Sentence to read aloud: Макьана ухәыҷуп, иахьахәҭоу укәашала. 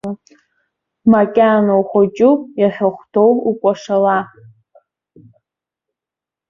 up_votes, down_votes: 2, 0